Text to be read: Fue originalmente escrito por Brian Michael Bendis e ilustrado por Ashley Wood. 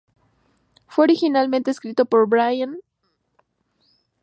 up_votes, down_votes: 0, 4